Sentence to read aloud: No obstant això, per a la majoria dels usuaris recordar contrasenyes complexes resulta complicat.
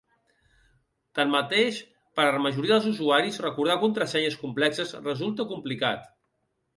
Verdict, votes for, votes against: rejected, 1, 2